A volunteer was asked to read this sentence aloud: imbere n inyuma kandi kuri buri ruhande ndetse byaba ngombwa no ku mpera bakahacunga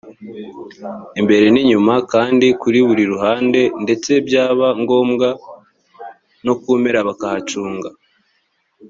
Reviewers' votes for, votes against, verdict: 3, 1, accepted